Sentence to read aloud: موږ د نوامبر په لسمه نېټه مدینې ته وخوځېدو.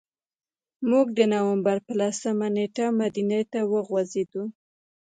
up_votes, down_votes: 0, 2